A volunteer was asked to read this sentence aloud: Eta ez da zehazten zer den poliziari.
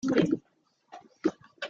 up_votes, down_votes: 0, 2